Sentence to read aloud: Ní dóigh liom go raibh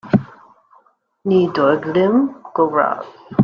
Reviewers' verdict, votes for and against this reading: rejected, 0, 2